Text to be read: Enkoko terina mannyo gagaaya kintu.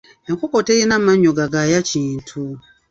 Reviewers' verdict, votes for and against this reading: rejected, 1, 2